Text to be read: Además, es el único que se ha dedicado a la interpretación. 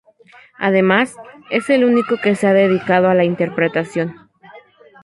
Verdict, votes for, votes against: rejected, 0, 2